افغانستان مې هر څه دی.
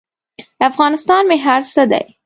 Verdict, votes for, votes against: accepted, 2, 0